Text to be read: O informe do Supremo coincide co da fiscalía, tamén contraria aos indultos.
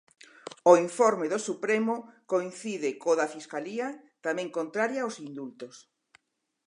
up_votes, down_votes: 4, 0